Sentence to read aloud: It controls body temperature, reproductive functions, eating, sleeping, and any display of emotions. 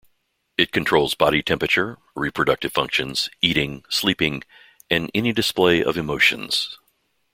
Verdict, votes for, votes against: accepted, 2, 0